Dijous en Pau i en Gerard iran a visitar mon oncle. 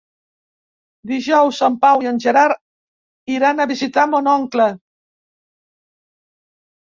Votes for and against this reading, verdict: 2, 0, accepted